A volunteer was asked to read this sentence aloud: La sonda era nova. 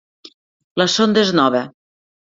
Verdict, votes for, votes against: rejected, 2, 3